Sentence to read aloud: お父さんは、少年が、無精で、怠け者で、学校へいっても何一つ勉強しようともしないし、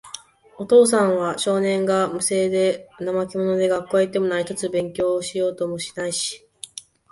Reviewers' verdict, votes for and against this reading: rejected, 0, 2